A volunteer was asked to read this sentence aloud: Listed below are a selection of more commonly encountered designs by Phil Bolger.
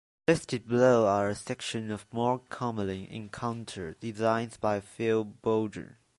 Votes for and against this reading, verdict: 0, 2, rejected